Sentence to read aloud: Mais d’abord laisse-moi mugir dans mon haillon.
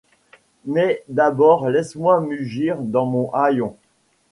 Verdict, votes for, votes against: accepted, 2, 0